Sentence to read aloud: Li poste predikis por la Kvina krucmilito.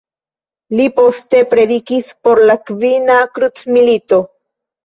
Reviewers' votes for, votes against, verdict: 1, 2, rejected